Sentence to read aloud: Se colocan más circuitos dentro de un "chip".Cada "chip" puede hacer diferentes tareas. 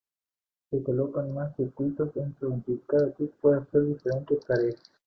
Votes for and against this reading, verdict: 0, 2, rejected